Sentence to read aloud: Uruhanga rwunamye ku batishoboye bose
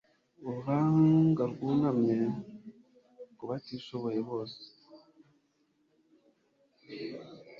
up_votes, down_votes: 1, 2